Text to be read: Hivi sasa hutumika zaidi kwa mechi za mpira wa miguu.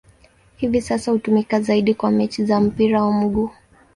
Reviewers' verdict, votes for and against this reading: accepted, 2, 0